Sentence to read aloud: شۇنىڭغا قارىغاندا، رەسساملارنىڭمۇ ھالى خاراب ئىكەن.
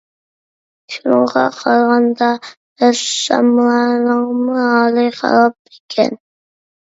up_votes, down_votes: 1, 2